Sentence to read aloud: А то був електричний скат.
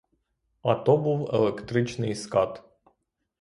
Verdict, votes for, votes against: rejected, 3, 3